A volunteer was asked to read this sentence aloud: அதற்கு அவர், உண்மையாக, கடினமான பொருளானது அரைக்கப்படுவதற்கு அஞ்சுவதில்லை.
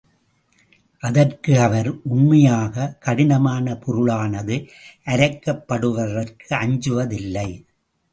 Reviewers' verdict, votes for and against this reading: accepted, 2, 0